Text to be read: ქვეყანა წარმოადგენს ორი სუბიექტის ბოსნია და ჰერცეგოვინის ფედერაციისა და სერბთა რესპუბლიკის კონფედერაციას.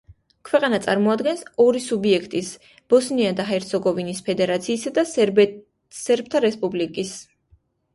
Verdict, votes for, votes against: rejected, 0, 2